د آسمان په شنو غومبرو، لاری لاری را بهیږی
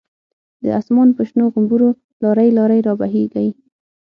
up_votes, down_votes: 6, 0